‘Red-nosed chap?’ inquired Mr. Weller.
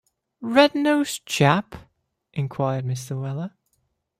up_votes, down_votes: 2, 0